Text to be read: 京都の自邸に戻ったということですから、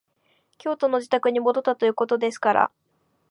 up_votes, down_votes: 2, 0